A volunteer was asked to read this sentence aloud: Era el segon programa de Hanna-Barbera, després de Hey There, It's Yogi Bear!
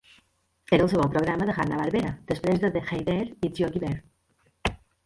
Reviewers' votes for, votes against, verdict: 1, 2, rejected